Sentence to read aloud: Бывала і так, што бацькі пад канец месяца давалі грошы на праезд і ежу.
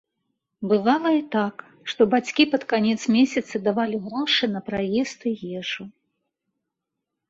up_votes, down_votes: 2, 0